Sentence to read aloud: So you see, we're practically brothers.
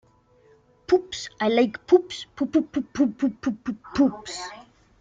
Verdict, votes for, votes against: rejected, 0, 2